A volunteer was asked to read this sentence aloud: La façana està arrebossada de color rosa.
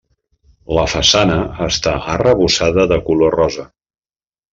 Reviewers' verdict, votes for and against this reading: accepted, 3, 0